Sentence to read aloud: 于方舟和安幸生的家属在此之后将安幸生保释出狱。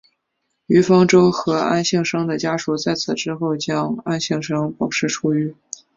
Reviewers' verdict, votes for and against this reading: accepted, 2, 0